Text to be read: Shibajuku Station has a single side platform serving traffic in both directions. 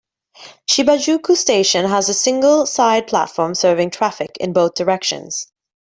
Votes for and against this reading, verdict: 2, 0, accepted